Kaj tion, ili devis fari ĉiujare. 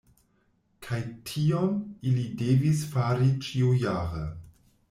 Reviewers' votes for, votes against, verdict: 1, 2, rejected